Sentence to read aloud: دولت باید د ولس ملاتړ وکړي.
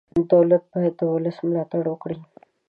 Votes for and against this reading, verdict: 4, 0, accepted